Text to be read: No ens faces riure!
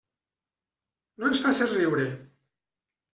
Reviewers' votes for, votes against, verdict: 2, 0, accepted